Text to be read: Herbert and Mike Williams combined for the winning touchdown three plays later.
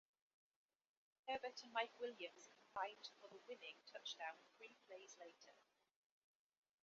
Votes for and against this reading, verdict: 2, 0, accepted